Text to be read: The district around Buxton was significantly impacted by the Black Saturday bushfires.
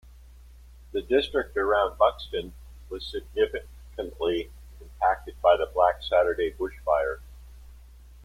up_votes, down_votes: 2, 0